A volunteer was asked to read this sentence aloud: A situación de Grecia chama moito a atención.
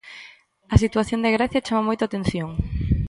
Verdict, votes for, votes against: accepted, 2, 0